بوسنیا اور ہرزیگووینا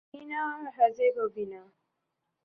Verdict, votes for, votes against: rejected, 0, 2